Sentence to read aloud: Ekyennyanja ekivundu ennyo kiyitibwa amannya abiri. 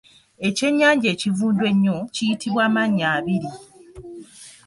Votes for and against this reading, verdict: 0, 2, rejected